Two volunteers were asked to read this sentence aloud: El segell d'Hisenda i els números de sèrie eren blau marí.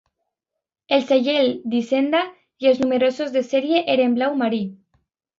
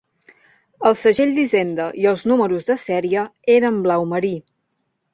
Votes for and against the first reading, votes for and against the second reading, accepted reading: 0, 2, 2, 0, second